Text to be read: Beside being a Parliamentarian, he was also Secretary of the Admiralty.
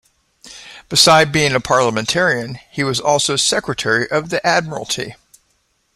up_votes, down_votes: 2, 0